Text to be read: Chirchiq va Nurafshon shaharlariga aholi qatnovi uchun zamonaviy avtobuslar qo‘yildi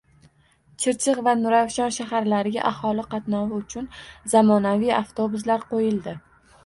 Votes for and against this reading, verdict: 2, 1, accepted